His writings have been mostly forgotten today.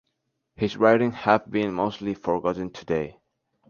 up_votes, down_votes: 2, 0